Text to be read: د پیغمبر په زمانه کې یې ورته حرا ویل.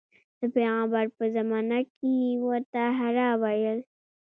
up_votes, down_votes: 2, 0